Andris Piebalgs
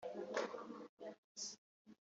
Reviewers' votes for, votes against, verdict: 1, 2, rejected